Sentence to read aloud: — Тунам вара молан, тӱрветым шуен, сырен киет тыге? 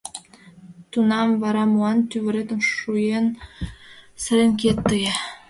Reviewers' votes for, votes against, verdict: 1, 2, rejected